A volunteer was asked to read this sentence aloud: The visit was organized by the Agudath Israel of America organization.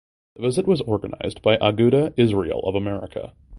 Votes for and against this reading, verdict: 1, 2, rejected